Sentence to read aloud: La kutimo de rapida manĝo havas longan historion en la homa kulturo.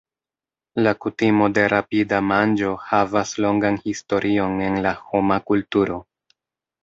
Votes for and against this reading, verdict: 1, 2, rejected